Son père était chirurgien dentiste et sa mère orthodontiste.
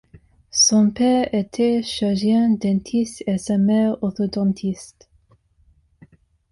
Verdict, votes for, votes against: accepted, 2, 0